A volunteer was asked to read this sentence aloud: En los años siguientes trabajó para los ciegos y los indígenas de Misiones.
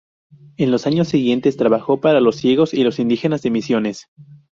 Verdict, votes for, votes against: accepted, 4, 0